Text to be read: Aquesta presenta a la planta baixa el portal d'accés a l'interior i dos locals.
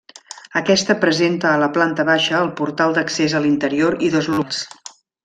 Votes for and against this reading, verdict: 0, 2, rejected